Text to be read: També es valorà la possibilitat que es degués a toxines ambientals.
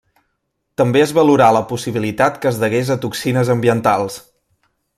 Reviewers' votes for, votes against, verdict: 2, 0, accepted